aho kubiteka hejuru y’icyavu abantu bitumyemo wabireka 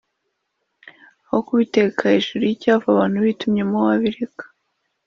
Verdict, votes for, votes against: accepted, 2, 0